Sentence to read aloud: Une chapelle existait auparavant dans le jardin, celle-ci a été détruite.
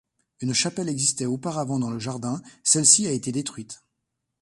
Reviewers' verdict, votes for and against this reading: accepted, 2, 0